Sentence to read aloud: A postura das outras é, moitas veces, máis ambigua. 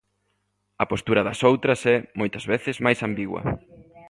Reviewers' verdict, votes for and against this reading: accepted, 2, 0